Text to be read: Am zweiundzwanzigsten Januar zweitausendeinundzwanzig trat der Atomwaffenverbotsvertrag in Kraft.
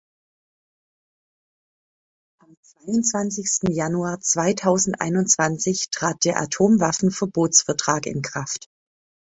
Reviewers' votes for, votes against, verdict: 1, 2, rejected